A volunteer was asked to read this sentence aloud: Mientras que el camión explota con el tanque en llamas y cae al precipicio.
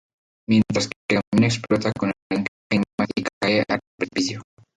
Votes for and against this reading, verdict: 0, 2, rejected